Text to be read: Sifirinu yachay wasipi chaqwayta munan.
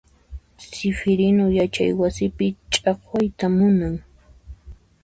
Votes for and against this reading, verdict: 2, 0, accepted